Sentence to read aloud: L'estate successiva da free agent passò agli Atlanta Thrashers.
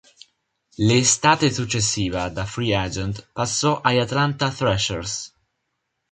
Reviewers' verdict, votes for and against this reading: accepted, 3, 0